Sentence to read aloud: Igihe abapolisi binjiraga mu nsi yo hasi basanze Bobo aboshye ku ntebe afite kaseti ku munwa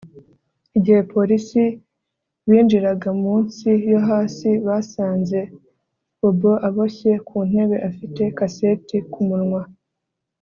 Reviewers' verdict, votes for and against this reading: accepted, 2, 1